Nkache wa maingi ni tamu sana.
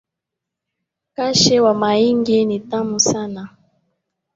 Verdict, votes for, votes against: rejected, 0, 2